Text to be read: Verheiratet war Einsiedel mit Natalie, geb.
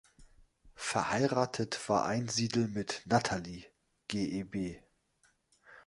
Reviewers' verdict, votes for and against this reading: rejected, 1, 2